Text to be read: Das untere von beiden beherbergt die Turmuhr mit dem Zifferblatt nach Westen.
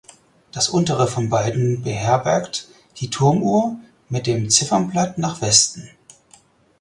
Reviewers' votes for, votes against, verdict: 2, 4, rejected